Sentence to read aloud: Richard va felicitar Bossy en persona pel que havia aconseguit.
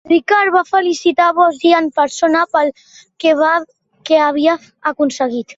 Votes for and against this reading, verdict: 0, 2, rejected